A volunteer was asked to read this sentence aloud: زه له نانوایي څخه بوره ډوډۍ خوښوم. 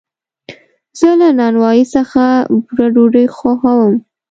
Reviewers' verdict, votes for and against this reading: accepted, 3, 0